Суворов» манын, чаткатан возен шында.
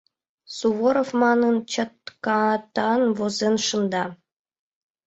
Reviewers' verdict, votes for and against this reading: accepted, 2, 0